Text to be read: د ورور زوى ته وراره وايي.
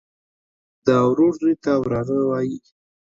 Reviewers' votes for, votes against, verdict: 2, 0, accepted